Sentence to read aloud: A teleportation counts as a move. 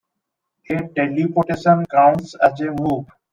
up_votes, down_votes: 2, 1